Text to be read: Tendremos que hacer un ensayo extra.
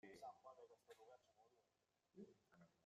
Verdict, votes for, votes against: rejected, 0, 2